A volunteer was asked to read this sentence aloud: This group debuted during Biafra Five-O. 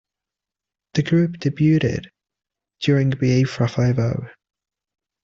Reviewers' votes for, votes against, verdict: 0, 2, rejected